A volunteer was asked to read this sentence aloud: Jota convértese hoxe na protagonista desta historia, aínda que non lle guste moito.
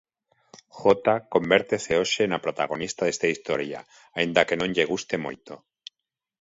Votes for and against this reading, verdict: 2, 0, accepted